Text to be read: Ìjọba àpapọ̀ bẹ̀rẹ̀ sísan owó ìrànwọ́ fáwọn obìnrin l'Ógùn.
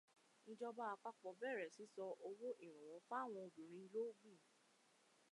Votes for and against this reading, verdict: 2, 0, accepted